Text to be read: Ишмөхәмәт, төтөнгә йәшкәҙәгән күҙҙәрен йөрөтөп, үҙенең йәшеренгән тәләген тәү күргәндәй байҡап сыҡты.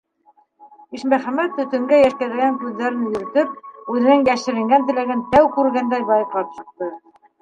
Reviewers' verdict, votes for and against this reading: rejected, 0, 2